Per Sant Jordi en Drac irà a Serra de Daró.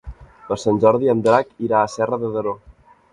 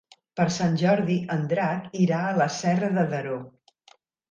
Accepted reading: first